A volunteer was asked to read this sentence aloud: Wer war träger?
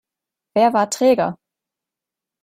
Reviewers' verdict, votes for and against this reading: accepted, 2, 0